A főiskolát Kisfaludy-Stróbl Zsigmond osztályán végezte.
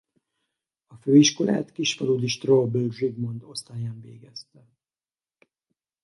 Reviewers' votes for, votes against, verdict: 0, 4, rejected